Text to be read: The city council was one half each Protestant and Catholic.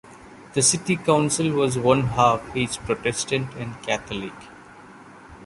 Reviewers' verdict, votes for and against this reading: rejected, 1, 2